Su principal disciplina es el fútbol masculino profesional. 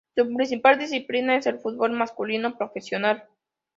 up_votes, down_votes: 2, 0